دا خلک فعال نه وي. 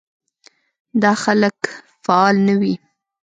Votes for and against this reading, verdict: 2, 0, accepted